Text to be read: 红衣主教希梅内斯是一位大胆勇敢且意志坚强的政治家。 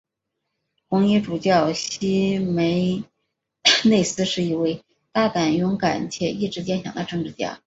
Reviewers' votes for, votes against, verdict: 3, 1, accepted